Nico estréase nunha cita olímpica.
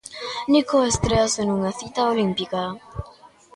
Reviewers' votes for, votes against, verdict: 2, 0, accepted